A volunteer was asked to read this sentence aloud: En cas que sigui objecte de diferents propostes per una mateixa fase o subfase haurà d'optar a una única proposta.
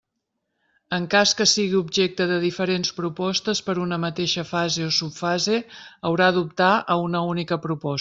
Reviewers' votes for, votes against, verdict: 1, 2, rejected